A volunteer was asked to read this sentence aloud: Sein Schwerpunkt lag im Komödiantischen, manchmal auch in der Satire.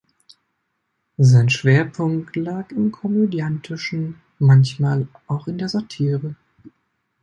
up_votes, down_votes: 2, 1